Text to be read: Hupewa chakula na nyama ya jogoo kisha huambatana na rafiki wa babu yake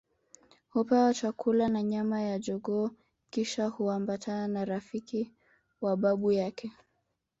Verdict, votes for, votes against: accepted, 3, 2